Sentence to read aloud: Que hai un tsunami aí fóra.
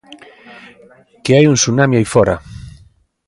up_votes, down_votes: 1, 2